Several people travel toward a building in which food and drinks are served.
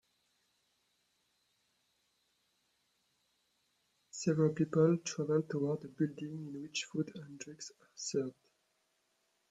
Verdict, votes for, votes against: rejected, 0, 2